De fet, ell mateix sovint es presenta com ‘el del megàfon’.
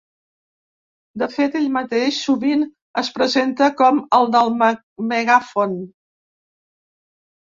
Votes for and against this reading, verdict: 0, 2, rejected